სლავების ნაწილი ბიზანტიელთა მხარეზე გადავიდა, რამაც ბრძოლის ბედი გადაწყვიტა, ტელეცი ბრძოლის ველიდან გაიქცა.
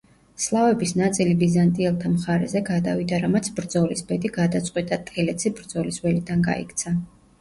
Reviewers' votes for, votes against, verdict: 1, 2, rejected